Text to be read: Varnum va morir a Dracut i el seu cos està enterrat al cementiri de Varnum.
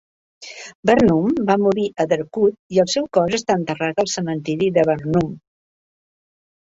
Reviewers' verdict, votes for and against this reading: rejected, 1, 2